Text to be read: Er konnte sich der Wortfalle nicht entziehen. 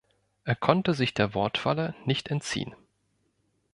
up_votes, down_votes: 3, 0